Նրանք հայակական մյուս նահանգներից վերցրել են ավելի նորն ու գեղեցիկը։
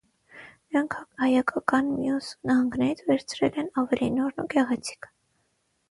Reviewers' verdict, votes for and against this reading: rejected, 3, 6